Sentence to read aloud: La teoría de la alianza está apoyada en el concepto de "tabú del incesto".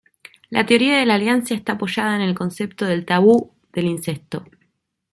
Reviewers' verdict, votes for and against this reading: rejected, 0, 2